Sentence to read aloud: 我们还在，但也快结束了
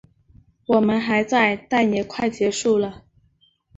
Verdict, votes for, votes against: accepted, 3, 0